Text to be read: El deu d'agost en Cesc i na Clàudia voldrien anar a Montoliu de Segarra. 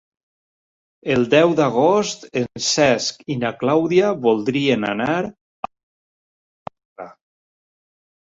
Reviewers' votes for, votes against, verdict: 0, 2, rejected